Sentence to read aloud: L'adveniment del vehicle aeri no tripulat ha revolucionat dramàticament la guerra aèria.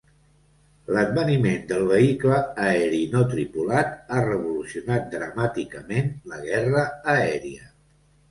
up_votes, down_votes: 2, 0